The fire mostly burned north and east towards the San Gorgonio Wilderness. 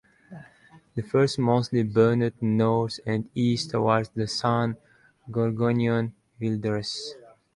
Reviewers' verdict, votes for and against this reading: rejected, 0, 2